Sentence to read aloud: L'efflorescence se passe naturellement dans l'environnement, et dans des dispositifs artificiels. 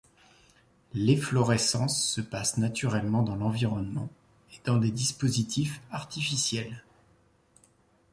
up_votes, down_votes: 2, 0